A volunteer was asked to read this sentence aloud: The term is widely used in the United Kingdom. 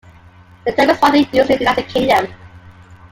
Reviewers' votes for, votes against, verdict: 0, 2, rejected